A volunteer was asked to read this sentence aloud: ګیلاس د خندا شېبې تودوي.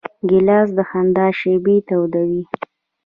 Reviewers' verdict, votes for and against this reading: rejected, 1, 2